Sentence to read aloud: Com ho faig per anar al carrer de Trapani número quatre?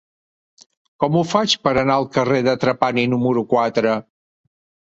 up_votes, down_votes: 2, 0